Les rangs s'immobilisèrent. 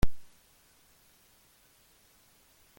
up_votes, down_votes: 0, 2